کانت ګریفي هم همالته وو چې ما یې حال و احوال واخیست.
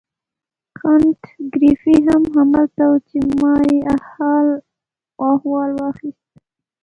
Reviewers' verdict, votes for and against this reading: rejected, 0, 2